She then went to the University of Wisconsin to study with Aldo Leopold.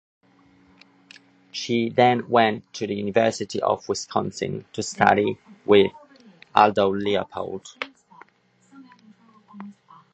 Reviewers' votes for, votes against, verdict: 2, 0, accepted